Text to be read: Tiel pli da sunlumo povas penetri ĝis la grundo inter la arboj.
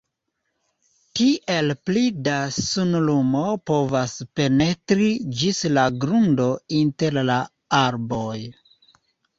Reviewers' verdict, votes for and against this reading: accepted, 2, 0